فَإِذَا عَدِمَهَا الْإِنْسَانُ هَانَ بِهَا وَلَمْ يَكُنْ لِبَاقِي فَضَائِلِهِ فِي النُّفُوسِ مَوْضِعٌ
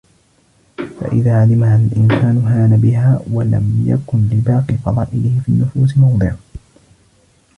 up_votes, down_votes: 0, 2